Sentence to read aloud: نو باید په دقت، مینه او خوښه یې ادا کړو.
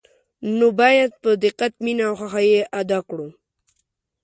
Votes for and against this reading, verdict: 2, 0, accepted